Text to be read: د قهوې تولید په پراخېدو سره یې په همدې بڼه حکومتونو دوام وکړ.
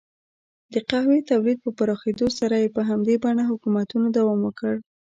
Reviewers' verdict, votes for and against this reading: rejected, 1, 2